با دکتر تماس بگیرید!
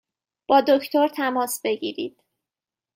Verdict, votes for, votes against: accepted, 2, 0